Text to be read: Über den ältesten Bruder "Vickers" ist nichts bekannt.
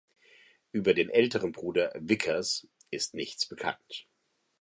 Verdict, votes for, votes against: rejected, 1, 2